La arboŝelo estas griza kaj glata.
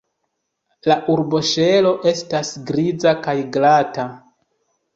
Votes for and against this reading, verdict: 2, 0, accepted